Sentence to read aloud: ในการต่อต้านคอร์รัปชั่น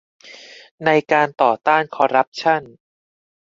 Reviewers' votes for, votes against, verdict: 2, 0, accepted